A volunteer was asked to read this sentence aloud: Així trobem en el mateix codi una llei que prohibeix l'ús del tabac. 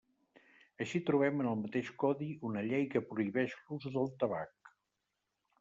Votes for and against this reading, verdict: 3, 0, accepted